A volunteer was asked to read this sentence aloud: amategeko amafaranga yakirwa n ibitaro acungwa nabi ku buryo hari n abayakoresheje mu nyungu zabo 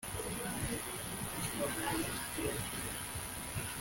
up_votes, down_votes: 0, 2